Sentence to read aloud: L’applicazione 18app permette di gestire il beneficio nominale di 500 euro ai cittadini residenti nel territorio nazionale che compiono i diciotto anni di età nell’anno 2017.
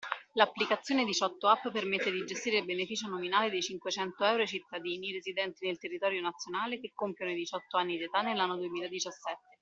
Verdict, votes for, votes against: rejected, 0, 2